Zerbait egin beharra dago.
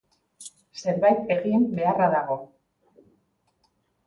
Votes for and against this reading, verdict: 2, 0, accepted